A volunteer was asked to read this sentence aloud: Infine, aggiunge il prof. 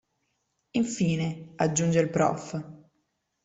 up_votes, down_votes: 2, 0